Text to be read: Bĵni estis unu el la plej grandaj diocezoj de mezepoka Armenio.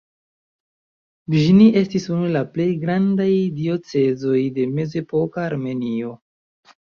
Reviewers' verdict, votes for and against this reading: rejected, 1, 2